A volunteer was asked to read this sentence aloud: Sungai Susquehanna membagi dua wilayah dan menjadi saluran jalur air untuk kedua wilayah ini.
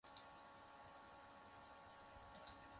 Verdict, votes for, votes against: rejected, 0, 2